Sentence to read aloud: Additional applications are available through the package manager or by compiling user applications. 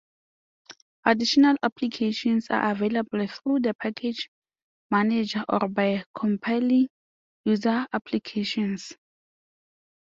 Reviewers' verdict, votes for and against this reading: accepted, 2, 0